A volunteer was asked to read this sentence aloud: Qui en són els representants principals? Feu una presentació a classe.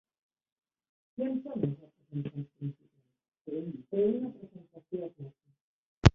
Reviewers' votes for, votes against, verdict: 0, 2, rejected